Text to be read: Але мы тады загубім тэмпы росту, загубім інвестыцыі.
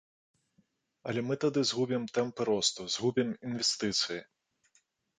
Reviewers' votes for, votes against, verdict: 0, 2, rejected